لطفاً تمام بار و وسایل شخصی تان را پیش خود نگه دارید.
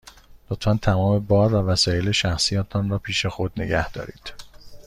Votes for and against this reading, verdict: 2, 0, accepted